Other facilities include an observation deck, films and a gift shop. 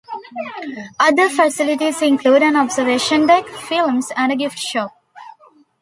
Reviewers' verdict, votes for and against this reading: accepted, 2, 0